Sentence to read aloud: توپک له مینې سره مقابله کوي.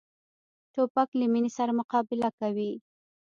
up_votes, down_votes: 1, 2